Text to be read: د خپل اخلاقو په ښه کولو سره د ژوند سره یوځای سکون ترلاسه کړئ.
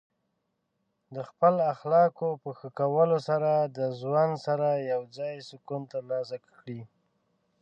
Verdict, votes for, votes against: rejected, 0, 2